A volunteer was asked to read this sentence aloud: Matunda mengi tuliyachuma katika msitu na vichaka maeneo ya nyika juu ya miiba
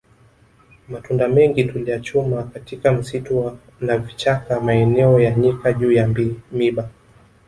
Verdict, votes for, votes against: rejected, 1, 2